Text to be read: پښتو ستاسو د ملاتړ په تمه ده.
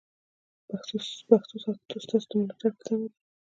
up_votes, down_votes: 0, 2